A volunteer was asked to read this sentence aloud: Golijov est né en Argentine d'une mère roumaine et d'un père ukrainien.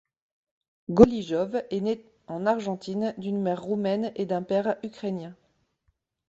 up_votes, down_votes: 0, 2